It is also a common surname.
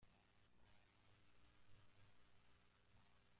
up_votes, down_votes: 0, 2